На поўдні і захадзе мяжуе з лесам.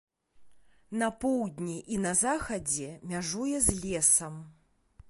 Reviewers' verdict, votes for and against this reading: rejected, 0, 2